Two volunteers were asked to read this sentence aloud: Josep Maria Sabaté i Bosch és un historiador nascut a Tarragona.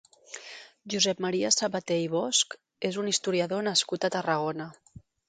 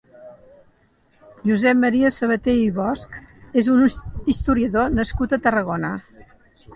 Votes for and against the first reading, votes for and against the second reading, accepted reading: 3, 0, 0, 2, first